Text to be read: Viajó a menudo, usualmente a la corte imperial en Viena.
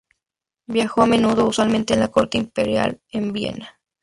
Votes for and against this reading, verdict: 2, 2, rejected